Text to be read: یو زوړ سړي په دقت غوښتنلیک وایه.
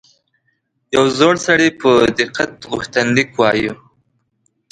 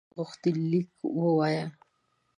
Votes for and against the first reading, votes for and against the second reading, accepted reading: 3, 0, 1, 2, first